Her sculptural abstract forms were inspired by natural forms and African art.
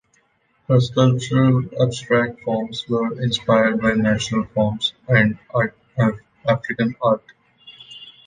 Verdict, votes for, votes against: rejected, 0, 2